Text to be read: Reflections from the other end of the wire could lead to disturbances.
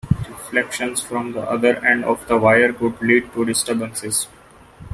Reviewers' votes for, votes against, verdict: 2, 1, accepted